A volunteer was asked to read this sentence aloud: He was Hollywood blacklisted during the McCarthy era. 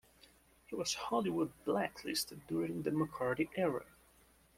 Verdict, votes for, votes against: accepted, 2, 0